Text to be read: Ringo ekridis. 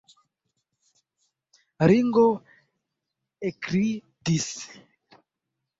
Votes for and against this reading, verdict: 2, 1, accepted